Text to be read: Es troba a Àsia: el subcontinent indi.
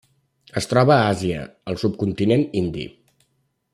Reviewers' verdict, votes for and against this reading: accepted, 3, 0